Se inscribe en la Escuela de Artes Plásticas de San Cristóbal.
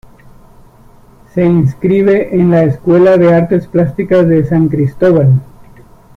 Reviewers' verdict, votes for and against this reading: accepted, 2, 0